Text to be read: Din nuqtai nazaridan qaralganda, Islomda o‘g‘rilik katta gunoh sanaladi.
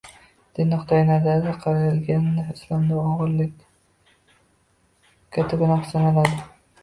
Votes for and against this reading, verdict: 0, 3, rejected